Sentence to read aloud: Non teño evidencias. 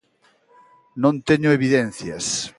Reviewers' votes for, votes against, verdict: 2, 0, accepted